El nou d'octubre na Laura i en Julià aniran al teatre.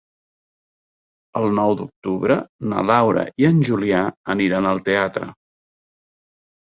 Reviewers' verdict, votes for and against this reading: accepted, 3, 0